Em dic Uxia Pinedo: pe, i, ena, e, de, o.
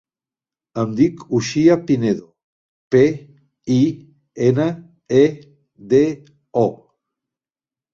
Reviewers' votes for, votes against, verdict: 3, 0, accepted